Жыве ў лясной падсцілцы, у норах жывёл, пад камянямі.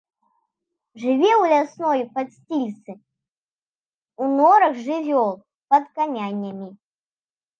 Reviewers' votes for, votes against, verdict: 0, 2, rejected